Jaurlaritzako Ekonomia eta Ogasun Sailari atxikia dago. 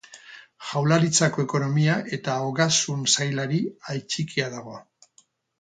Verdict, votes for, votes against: rejected, 0, 2